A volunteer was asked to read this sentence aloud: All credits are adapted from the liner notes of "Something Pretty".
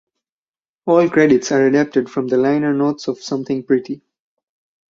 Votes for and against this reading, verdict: 4, 0, accepted